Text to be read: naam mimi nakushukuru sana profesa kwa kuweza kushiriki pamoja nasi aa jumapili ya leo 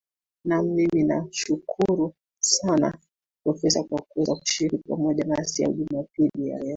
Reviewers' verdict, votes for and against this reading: rejected, 1, 2